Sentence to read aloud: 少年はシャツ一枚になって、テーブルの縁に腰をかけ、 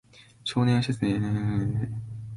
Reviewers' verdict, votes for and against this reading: rejected, 0, 2